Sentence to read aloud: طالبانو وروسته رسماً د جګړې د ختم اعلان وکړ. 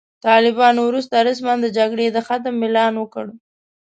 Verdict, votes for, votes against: accepted, 4, 0